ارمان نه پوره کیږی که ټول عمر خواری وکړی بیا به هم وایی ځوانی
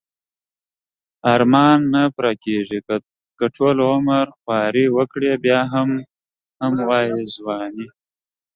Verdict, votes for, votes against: accepted, 2, 1